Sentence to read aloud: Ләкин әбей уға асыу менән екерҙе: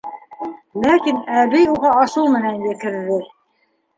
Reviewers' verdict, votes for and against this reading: rejected, 1, 2